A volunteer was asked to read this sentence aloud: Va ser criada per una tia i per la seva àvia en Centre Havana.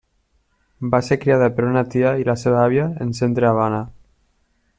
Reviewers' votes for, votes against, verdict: 1, 2, rejected